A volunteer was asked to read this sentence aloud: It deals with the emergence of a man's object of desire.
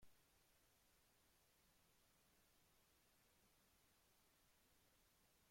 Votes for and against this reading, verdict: 0, 2, rejected